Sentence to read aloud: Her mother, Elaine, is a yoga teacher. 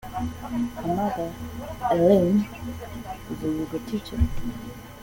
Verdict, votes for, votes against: accepted, 2, 0